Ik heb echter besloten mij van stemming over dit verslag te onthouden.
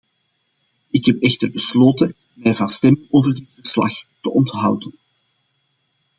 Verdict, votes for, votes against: rejected, 1, 2